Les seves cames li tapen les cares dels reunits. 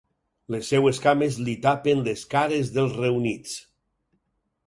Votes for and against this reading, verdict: 4, 0, accepted